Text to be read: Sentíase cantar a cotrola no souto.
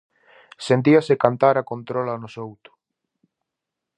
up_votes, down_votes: 0, 4